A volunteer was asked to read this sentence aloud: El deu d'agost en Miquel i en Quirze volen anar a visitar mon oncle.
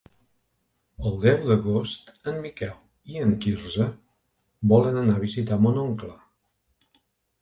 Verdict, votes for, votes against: accepted, 2, 0